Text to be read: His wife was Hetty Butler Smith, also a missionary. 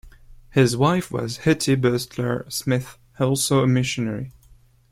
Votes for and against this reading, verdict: 2, 1, accepted